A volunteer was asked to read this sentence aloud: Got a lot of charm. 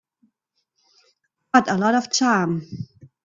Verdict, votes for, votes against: rejected, 1, 2